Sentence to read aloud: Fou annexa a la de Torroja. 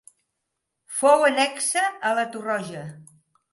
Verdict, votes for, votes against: rejected, 0, 2